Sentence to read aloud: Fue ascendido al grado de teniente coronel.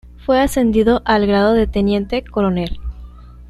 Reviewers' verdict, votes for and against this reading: accepted, 2, 0